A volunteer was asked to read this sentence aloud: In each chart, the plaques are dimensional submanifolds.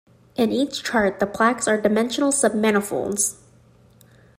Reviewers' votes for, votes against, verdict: 2, 0, accepted